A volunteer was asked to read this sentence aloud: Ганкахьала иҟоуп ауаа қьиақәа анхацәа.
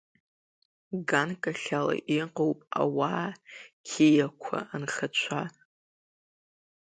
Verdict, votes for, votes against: accepted, 2, 0